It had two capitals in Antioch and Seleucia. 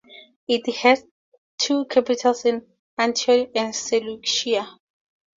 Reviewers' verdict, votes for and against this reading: accepted, 2, 0